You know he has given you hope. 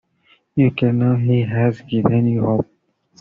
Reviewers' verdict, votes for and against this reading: rejected, 0, 2